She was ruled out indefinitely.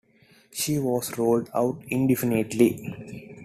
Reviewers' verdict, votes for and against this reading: accepted, 2, 0